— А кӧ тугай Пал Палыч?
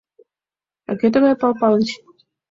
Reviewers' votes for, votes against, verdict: 2, 0, accepted